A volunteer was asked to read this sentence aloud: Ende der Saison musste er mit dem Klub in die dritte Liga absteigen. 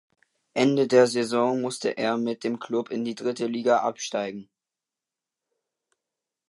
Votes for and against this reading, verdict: 2, 0, accepted